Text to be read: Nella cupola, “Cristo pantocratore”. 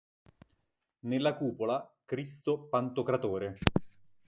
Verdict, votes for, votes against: accepted, 2, 0